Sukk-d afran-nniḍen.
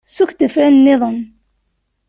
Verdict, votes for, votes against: accepted, 2, 0